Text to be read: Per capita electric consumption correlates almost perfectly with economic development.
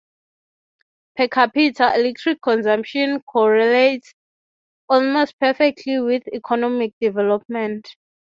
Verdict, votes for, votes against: rejected, 3, 3